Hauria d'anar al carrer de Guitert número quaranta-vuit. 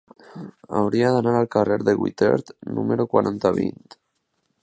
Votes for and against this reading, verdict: 0, 2, rejected